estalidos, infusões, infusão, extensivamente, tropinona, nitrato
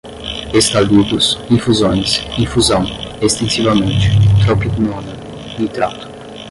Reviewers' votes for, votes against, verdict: 5, 5, rejected